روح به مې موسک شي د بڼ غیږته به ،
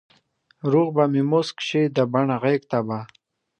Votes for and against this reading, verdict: 2, 1, accepted